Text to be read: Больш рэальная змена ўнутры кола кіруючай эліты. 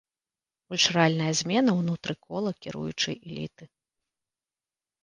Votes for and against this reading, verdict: 1, 2, rejected